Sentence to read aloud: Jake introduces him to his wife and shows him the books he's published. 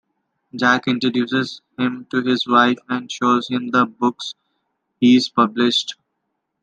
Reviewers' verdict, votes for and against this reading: accepted, 2, 1